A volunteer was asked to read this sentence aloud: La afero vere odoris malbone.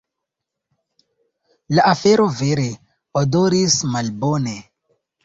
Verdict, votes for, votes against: accepted, 2, 0